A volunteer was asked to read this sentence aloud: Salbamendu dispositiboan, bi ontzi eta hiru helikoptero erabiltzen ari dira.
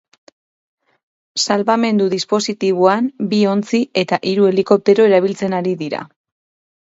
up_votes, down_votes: 6, 0